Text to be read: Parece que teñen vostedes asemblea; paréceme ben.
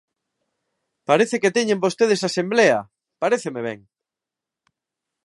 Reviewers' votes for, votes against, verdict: 2, 0, accepted